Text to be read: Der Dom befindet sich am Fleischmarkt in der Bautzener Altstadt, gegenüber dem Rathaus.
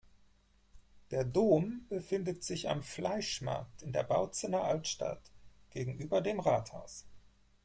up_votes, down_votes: 4, 0